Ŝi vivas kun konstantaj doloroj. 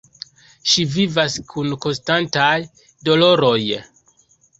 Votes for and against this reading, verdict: 2, 0, accepted